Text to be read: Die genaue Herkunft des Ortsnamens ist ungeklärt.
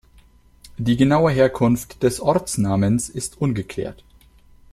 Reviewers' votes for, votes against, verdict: 2, 0, accepted